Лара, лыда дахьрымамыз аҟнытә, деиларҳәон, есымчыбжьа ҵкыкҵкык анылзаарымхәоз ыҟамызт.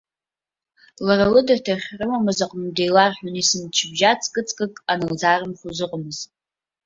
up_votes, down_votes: 1, 2